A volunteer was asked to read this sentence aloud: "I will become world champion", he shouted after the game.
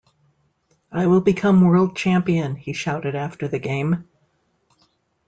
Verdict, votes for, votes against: accepted, 2, 0